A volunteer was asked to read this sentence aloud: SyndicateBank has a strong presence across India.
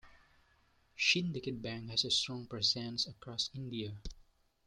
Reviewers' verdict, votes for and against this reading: rejected, 0, 2